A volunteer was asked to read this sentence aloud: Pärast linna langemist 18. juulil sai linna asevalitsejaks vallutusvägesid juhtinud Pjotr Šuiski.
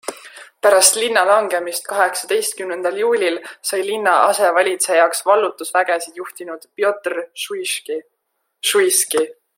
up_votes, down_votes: 0, 2